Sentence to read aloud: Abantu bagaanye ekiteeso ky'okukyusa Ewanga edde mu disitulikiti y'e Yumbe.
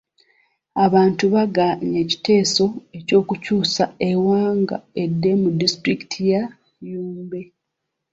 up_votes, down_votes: 1, 2